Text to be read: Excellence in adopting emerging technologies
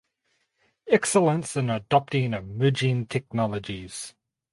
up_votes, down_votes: 2, 4